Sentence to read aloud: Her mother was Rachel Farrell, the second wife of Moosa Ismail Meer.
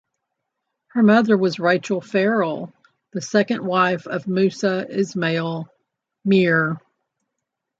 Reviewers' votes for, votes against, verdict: 2, 0, accepted